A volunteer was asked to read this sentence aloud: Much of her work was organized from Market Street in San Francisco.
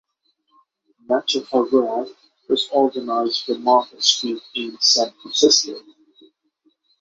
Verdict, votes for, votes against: accepted, 9, 0